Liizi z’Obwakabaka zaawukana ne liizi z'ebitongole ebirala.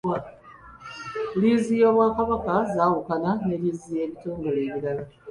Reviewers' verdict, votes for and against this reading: accepted, 2, 1